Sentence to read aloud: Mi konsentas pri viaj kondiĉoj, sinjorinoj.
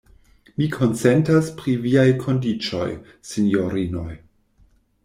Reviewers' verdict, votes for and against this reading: accepted, 2, 0